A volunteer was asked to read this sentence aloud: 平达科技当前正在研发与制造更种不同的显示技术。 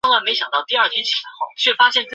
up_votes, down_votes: 3, 1